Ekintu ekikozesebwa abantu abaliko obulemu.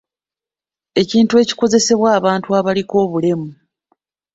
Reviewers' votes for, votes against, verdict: 0, 2, rejected